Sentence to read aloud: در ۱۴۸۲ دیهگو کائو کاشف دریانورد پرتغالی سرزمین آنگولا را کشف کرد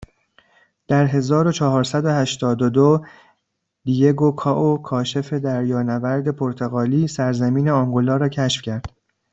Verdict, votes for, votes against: rejected, 0, 2